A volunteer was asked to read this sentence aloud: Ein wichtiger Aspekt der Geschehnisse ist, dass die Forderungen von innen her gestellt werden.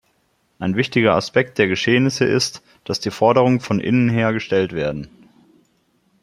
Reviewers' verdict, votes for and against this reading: accepted, 2, 0